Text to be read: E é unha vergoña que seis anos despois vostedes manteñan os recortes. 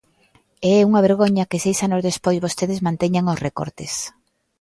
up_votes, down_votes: 2, 0